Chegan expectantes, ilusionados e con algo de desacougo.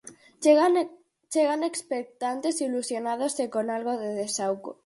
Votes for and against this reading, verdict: 0, 4, rejected